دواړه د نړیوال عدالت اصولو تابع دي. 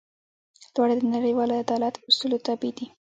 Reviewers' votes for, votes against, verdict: 2, 0, accepted